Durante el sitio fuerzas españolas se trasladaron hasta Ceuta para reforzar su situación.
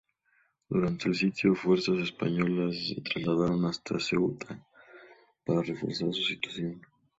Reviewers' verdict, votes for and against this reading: accepted, 4, 0